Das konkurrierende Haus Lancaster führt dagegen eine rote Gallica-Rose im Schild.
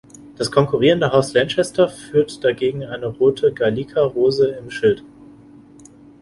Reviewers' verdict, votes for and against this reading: rejected, 0, 2